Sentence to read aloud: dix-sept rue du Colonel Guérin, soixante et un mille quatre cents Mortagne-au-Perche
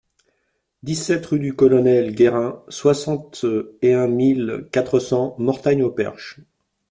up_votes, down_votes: 2, 0